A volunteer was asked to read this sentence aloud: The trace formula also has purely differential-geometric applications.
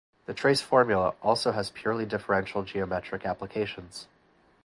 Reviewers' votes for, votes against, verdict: 2, 0, accepted